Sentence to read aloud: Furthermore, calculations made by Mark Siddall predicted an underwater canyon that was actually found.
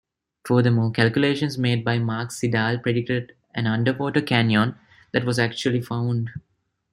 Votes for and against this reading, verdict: 1, 2, rejected